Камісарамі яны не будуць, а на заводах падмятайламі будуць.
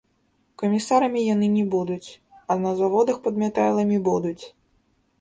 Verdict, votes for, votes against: rejected, 1, 2